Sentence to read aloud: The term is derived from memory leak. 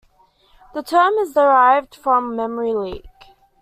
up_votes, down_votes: 2, 0